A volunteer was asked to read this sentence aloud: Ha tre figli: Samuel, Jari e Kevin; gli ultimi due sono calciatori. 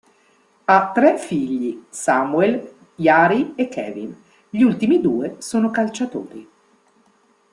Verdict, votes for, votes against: accepted, 3, 0